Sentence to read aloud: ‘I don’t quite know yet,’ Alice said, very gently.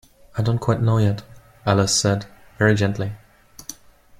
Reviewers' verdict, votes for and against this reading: accepted, 2, 0